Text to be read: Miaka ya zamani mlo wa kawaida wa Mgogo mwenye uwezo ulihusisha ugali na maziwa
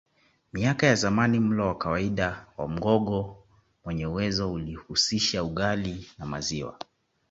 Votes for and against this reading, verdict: 2, 0, accepted